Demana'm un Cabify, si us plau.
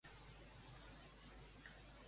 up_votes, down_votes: 0, 2